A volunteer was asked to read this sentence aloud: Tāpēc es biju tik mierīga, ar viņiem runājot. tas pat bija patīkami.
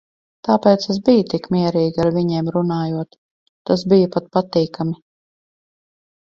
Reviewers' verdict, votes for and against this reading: rejected, 0, 4